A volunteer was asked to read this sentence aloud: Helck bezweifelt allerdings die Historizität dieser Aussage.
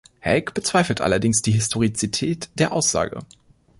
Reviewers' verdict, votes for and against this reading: rejected, 0, 2